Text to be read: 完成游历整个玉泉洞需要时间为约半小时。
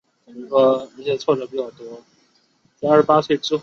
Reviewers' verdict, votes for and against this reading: rejected, 0, 2